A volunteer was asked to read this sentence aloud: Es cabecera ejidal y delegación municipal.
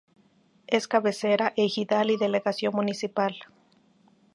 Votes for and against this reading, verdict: 2, 0, accepted